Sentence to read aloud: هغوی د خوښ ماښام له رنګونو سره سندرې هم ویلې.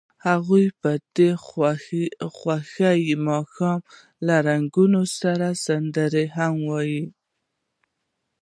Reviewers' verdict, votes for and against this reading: accepted, 2, 0